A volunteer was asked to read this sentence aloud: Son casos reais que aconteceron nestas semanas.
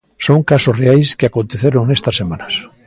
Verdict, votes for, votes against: accepted, 2, 0